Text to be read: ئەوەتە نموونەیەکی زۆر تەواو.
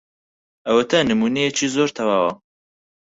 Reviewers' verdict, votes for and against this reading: accepted, 6, 4